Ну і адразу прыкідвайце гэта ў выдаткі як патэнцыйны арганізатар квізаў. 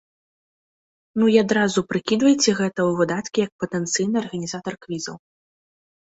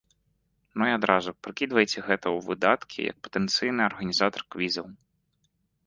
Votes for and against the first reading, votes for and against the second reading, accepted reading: 2, 0, 1, 3, first